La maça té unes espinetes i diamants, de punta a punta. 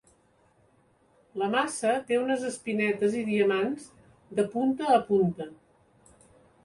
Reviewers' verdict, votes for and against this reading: accepted, 2, 0